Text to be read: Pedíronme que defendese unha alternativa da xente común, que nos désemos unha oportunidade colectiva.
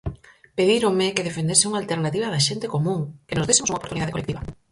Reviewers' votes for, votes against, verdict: 0, 4, rejected